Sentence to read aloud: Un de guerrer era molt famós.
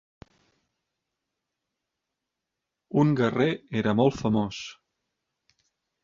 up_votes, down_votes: 0, 2